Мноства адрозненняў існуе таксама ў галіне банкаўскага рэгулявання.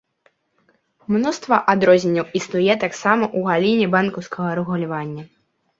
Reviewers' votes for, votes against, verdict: 1, 2, rejected